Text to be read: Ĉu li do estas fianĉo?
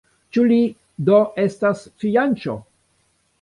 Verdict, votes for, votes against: accepted, 2, 0